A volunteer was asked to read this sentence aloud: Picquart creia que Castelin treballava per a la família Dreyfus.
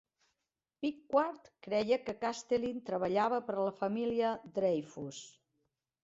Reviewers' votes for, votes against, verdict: 1, 2, rejected